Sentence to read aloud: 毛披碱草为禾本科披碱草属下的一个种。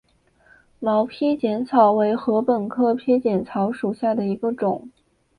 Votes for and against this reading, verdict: 2, 0, accepted